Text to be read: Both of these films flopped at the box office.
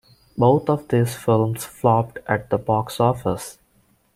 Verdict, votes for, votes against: rejected, 1, 2